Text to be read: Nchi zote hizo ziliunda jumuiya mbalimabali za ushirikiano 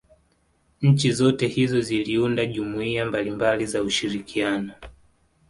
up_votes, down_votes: 2, 0